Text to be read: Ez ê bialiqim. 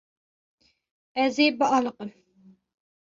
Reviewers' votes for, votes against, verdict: 2, 0, accepted